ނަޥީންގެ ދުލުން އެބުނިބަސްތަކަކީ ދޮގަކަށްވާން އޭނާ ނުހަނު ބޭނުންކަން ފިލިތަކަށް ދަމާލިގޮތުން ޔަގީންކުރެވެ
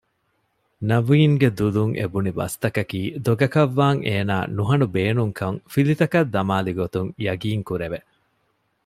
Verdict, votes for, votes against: accepted, 2, 0